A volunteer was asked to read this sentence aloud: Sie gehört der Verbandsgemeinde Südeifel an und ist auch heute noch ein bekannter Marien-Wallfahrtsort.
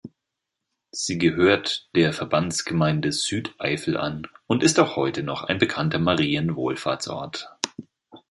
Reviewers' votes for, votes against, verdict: 0, 2, rejected